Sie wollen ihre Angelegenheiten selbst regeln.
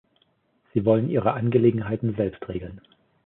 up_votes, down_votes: 2, 0